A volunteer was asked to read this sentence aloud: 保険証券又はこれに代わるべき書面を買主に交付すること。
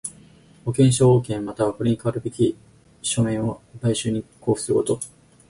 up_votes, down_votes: 0, 4